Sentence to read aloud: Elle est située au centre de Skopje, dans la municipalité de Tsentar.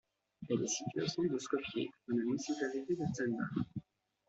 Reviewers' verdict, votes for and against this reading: rejected, 1, 2